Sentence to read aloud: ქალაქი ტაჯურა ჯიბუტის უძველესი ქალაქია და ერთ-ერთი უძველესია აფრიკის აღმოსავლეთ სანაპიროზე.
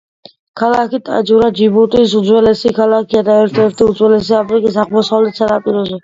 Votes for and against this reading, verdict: 2, 1, accepted